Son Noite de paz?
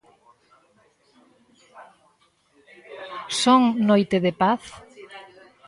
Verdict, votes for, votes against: rejected, 1, 2